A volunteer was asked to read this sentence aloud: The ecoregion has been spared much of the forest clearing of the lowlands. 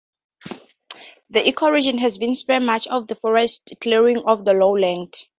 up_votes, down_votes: 0, 2